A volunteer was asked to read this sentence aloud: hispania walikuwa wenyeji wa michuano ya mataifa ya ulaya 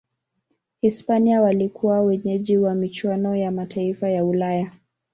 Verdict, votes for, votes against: rejected, 1, 2